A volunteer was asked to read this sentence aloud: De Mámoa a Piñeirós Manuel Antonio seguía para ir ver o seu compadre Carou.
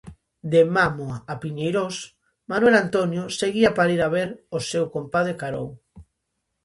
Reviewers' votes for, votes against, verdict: 0, 2, rejected